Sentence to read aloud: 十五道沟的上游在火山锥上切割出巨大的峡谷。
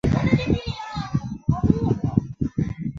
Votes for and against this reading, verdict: 0, 4, rejected